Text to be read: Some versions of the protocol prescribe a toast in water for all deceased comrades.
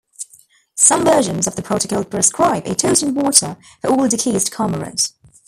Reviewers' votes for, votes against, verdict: 0, 2, rejected